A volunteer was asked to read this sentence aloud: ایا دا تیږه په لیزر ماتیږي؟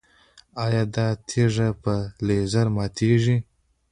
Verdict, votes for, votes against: accepted, 2, 1